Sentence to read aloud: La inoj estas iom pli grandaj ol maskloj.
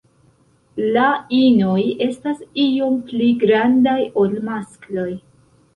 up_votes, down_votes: 2, 0